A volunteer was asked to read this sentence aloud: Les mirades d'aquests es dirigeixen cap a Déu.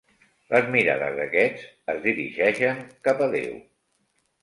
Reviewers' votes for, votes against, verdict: 2, 0, accepted